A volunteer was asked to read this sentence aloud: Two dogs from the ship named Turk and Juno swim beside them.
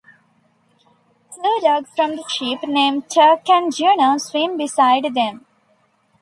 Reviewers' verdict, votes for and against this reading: accepted, 2, 0